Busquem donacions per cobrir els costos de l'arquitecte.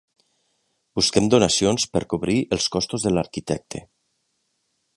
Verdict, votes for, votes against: accepted, 4, 0